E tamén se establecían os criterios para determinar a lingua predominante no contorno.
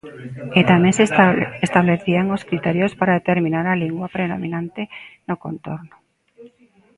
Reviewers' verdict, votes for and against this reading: rejected, 0, 2